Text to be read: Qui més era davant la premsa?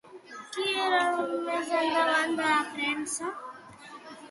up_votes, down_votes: 0, 2